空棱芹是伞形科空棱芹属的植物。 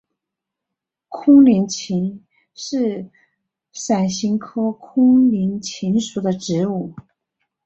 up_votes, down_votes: 2, 1